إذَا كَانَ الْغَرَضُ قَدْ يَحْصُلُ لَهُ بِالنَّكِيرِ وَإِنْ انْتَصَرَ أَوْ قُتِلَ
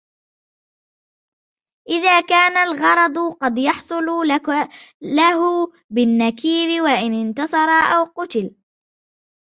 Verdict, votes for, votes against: accepted, 2, 0